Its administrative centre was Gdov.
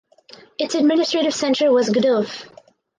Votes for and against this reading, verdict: 4, 2, accepted